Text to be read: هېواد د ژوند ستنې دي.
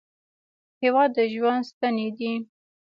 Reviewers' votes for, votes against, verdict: 1, 2, rejected